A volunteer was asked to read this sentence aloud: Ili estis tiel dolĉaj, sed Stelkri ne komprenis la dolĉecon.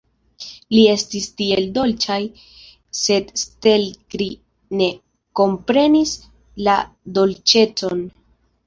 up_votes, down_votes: 0, 2